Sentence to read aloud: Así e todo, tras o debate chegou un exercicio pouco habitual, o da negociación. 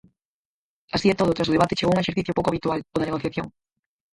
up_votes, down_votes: 0, 4